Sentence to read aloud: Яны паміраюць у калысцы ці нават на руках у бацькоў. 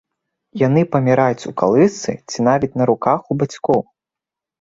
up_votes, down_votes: 0, 2